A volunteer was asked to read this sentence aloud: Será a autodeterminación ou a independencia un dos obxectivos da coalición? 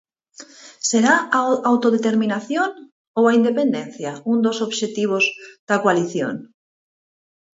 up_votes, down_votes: 2, 4